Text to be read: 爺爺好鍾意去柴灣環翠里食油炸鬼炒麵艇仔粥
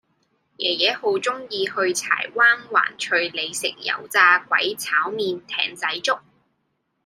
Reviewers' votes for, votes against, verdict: 2, 0, accepted